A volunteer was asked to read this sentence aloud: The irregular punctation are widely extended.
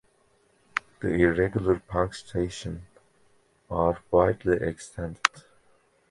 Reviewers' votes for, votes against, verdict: 2, 1, accepted